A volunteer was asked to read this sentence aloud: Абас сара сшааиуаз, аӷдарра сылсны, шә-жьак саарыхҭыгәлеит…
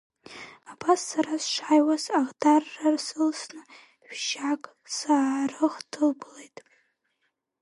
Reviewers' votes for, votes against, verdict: 1, 2, rejected